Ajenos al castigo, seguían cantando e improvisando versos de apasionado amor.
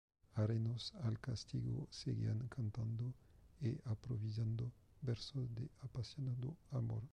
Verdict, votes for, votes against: rejected, 1, 2